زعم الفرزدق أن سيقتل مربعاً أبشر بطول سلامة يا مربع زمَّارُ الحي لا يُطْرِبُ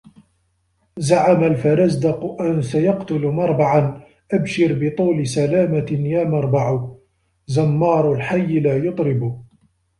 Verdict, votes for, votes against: accepted, 2, 0